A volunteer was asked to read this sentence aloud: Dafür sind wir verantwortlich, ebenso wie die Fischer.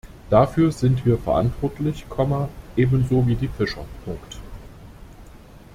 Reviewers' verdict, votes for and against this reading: rejected, 0, 2